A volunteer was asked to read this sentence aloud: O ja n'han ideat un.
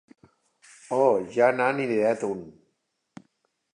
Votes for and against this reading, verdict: 2, 0, accepted